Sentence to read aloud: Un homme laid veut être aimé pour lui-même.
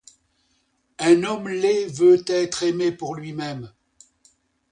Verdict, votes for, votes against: accepted, 2, 0